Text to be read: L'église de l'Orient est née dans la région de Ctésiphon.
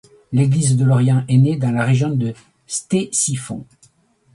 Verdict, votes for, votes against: accepted, 2, 0